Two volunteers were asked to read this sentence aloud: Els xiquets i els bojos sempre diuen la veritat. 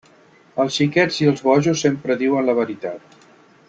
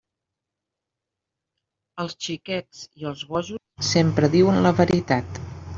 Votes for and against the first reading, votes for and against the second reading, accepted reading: 3, 0, 1, 2, first